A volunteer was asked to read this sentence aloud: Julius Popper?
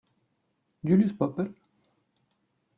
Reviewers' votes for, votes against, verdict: 2, 0, accepted